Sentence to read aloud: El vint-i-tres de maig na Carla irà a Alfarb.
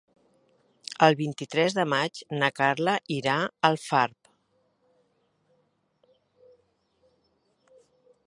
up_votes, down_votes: 2, 1